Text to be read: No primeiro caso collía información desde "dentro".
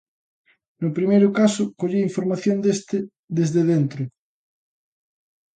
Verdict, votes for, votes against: rejected, 1, 2